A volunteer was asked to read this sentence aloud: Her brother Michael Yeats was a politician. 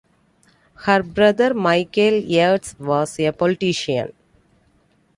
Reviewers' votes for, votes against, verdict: 2, 1, accepted